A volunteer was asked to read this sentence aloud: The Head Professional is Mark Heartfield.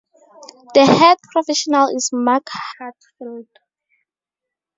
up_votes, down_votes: 2, 0